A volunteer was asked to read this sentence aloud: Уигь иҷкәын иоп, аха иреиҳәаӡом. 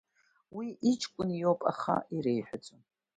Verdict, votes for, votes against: accepted, 2, 0